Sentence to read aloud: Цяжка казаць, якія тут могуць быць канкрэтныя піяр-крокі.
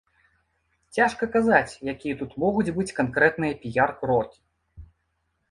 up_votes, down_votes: 2, 0